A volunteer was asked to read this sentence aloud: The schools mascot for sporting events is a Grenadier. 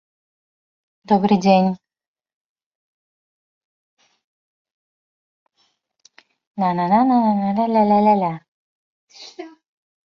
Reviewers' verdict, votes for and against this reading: rejected, 0, 2